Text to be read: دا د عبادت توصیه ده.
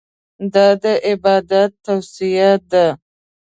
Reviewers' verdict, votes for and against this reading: accepted, 2, 0